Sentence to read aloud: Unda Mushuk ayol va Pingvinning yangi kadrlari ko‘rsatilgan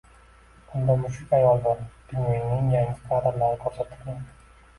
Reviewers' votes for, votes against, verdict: 1, 2, rejected